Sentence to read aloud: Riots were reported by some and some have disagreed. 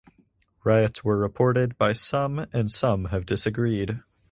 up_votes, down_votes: 4, 0